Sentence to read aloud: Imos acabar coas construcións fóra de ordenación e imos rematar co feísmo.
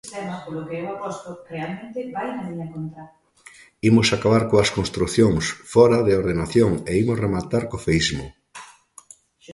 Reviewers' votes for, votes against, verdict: 1, 3, rejected